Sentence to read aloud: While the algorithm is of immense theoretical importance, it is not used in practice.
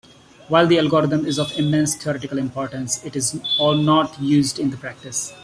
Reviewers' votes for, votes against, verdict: 0, 2, rejected